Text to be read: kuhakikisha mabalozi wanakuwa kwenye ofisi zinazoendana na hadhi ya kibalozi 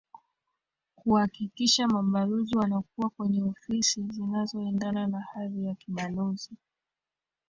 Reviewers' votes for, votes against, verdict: 1, 2, rejected